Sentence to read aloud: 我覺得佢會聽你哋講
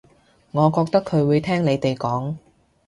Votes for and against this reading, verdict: 2, 0, accepted